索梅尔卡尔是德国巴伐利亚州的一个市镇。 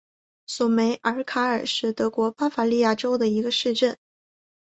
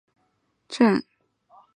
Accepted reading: first